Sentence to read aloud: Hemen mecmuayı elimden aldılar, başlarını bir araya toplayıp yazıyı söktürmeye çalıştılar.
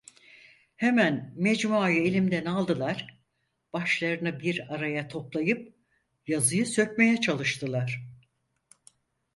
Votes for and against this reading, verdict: 0, 4, rejected